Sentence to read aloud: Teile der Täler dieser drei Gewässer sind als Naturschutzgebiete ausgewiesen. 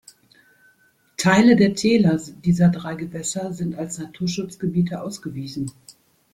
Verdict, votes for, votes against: rejected, 0, 2